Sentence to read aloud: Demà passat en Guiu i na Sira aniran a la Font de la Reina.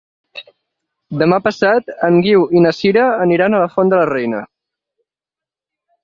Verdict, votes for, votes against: accepted, 4, 0